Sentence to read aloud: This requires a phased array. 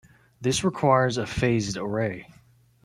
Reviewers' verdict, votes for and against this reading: rejected, 0, 2